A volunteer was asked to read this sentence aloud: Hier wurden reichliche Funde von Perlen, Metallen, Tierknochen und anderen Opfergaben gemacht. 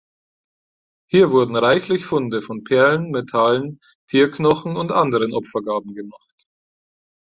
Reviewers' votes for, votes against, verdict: 2, 4, rejected